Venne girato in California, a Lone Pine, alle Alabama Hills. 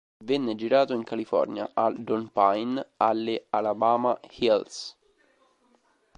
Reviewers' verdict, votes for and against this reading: rejected, 0, 2